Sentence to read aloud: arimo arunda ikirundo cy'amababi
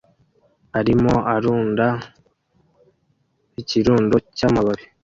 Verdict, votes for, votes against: accepted, 2, 0